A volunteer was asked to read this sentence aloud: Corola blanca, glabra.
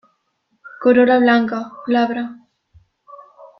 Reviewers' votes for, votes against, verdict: 2, 0, accepted